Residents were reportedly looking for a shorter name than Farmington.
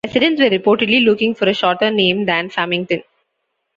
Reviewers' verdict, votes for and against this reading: rejected, 1, 2